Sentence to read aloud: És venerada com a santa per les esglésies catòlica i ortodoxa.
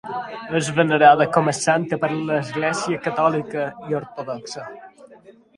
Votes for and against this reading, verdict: 0, 2, rejected